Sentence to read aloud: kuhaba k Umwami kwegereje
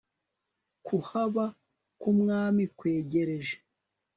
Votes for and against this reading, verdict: 2, 0, accepted